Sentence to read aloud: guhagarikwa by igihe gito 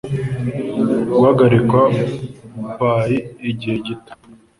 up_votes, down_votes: 2, 0